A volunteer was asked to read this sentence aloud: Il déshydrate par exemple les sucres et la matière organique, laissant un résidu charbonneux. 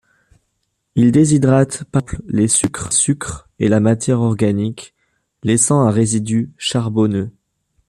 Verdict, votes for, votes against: rejected, 0, 2